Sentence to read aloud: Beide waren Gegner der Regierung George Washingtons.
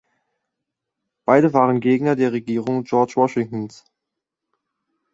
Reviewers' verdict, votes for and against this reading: accepted, 2, 0